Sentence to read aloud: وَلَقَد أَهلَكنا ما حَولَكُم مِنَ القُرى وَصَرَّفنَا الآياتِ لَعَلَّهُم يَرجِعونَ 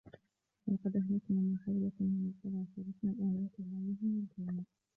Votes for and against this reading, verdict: 1, 2, rejected